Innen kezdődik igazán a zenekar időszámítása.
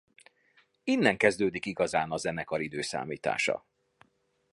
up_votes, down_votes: 2, 0